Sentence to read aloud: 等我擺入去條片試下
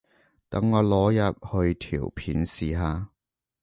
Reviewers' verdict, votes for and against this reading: rejected, 1, 2